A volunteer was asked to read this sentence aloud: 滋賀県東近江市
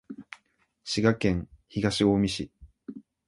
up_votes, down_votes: 2, 0